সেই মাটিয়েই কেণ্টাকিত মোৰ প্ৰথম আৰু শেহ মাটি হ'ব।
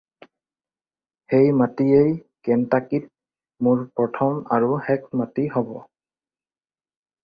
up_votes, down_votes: 2, 4